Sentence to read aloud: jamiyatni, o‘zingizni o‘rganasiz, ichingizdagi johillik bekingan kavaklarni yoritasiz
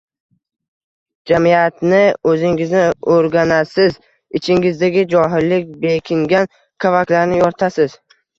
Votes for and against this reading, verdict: 1, 2, rejected